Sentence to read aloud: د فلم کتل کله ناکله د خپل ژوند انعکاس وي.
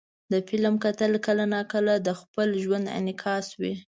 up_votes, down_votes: 2, 0